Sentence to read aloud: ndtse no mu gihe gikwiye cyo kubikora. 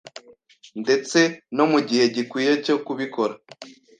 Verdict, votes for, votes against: accepted, 2, 0